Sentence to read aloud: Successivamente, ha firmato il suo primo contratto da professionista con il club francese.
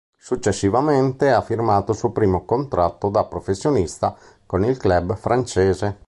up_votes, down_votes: 2, 0